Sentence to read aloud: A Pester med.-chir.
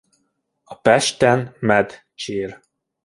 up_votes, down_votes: 0, 2